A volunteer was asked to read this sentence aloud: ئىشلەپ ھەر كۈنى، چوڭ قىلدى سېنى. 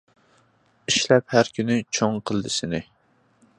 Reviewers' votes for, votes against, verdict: 2, 0, accepted